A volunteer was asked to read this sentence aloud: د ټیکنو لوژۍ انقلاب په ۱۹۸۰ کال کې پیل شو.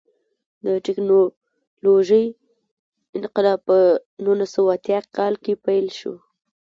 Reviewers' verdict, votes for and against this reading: rejected, 0, 2